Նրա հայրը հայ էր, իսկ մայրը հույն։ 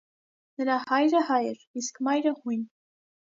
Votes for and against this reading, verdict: 2, 0, accepted